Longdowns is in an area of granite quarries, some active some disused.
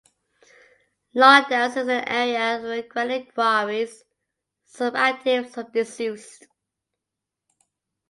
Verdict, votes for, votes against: accepted, 2, 0